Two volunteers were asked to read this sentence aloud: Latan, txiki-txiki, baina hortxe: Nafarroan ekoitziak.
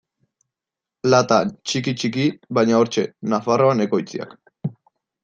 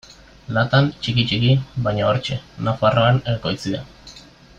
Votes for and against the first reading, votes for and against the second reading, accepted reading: 2, 0, 1, 2, first